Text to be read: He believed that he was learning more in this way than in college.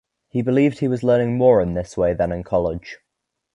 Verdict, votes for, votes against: rejected, 1, 2